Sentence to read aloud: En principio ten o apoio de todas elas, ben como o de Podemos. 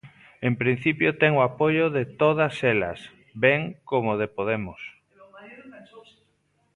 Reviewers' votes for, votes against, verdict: 1, 2, rejected